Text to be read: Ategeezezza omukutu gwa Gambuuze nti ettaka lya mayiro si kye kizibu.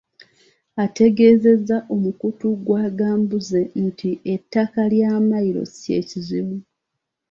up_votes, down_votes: 0, 2